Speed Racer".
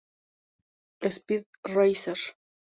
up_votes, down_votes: 2, 2